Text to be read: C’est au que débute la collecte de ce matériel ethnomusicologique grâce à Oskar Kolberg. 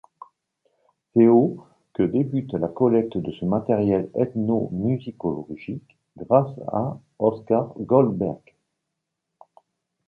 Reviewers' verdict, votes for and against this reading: rejected, 1, 2